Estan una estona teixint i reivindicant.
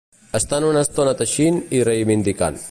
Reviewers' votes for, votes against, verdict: 2, 0, accepted